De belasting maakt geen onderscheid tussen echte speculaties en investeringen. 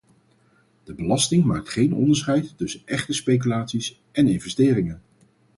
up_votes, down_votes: 2, 2